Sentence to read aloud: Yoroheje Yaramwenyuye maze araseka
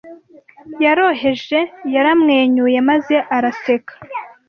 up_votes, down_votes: 2, 0